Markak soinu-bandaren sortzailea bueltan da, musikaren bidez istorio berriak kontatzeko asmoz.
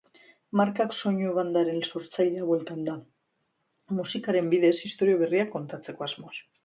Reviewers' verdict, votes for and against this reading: rejected, 0, 2